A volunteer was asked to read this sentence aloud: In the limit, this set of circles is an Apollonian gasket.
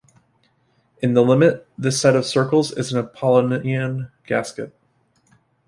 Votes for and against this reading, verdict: 0, 2, rejected